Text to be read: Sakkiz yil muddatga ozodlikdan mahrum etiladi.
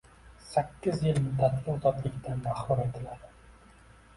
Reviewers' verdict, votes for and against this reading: accepted, 2, 0